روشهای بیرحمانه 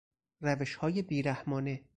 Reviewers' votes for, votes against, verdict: 2, 0, accepted